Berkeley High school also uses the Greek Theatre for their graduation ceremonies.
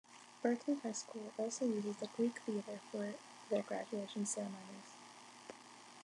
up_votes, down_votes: 2, 1